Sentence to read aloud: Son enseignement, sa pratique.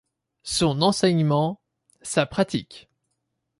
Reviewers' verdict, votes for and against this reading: accepted, 2, 0